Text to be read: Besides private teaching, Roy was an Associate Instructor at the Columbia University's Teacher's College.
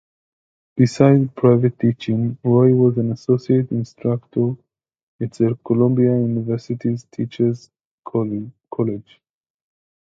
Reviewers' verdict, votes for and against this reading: rejected, 1, 2